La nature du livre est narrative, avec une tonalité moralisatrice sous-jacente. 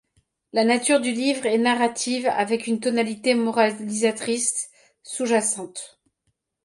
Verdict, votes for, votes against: rejected, 0, 2